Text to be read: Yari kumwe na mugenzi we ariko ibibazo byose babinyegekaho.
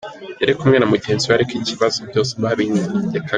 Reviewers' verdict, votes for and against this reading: rejected, 1, 2